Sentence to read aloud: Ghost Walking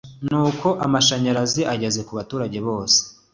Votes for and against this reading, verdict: 1, 2, rejected